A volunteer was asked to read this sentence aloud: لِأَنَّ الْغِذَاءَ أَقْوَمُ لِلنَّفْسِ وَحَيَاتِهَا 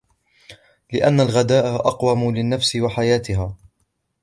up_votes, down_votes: 0, 2